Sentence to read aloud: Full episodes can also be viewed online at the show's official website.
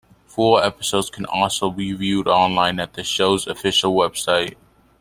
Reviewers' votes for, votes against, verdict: 2, 0, accepted